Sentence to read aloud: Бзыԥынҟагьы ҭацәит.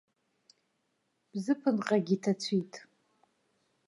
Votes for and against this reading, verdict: 2, 0, accepted